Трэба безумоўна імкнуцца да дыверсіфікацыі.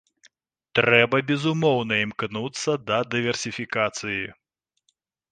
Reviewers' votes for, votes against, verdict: 3, 0, accepted